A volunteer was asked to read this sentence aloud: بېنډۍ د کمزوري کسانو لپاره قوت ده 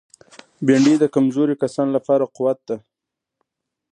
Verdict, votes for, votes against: accepted, 2, 0